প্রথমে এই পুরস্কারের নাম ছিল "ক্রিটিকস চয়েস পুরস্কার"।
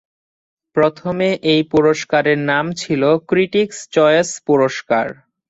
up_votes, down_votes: 8, 1